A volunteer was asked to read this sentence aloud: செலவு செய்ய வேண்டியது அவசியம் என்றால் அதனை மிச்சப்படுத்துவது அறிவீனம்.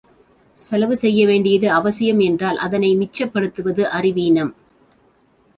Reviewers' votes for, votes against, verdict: 2, 0, accepted